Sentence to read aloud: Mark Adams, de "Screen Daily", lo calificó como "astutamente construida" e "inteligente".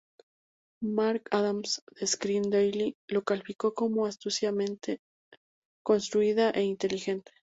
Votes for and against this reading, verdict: 0, 2, rejected